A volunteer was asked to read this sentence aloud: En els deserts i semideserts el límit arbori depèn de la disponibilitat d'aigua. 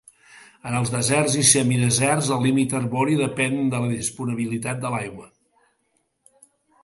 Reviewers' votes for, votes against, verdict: 0, 2, rejected